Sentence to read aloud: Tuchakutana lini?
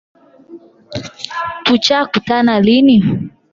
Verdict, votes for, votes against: rejected, 4, 8